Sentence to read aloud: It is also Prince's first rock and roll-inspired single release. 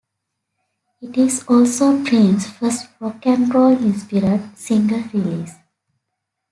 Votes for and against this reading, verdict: 0, 2, rejected